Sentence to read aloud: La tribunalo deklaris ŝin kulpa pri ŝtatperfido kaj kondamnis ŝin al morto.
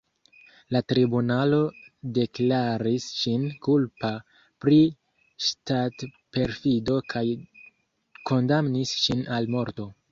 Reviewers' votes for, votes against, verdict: 1, 2, rejected